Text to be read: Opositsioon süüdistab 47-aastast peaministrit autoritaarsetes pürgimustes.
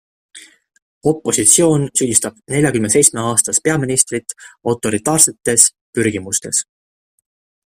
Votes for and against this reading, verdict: 0, 2, rejected